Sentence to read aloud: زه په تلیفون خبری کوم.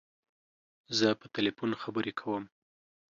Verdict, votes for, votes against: accepted, 2, 0